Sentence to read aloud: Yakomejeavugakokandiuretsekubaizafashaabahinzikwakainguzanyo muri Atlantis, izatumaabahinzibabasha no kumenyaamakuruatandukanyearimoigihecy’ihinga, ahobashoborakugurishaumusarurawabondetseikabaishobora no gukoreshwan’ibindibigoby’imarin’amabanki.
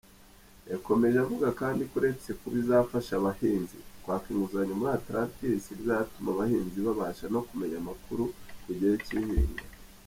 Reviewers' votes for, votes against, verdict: 0, 2, rejected